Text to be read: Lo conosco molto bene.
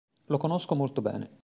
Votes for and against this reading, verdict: 2, 0, accepted